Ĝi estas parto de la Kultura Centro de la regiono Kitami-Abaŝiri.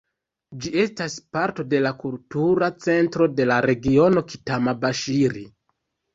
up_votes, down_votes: 0, 2